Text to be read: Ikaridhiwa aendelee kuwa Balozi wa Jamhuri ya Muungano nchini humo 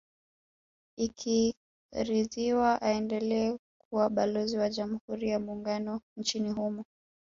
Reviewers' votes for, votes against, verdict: 3, 2, accepted